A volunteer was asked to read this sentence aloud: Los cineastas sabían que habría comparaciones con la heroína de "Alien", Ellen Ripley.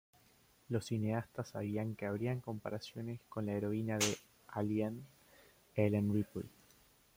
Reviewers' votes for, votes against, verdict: 2, 1, accepted